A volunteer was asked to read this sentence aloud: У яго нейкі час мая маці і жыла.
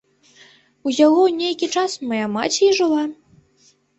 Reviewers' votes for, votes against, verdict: 2, 1, accepted